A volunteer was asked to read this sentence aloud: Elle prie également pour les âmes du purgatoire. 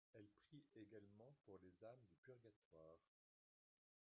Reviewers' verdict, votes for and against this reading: rejected, 1, 3